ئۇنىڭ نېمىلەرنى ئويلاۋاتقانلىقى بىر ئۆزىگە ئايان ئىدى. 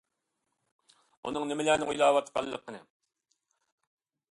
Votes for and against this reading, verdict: 0, 2, rejected